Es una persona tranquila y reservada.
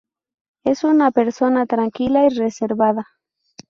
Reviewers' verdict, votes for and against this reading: accepted, 4, 0